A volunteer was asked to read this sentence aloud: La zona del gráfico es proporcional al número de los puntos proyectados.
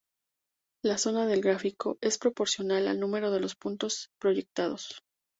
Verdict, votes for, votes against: accepted, 2, 0